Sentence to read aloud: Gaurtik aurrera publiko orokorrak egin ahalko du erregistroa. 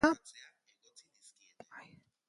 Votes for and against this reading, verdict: 0, 2, rejected